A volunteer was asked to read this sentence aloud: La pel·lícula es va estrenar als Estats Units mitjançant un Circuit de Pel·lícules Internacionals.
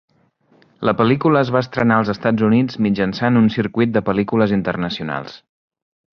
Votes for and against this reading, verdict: 3, 0, accepted